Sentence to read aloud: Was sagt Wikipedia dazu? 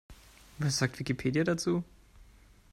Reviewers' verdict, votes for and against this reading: accepted, 2, 0